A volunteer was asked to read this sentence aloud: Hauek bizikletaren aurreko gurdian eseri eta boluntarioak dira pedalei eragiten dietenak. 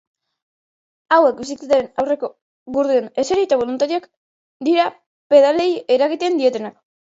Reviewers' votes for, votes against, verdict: 0, 2, rejected